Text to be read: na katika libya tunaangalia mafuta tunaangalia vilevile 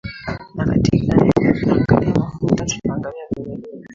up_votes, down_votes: 1, 2